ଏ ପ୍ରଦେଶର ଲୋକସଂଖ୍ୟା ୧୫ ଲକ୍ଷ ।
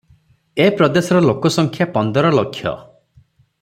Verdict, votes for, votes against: rejected, 0, 2